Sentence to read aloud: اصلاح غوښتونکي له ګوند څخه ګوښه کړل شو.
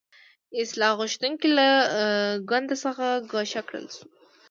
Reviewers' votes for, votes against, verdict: 2, 0, accepted